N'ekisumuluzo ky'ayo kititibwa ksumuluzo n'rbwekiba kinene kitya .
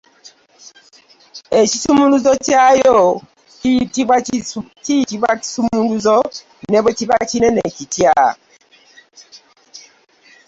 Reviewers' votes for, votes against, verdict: 0, 2, rejected